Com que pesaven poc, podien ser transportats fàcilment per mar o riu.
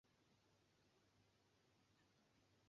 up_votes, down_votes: 1, 2